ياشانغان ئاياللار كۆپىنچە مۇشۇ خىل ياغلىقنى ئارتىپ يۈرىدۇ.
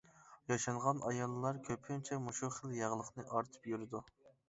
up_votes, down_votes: 2, 0